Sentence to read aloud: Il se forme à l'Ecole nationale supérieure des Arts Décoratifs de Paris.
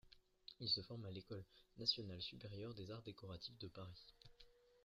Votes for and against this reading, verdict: 1, 2, rejected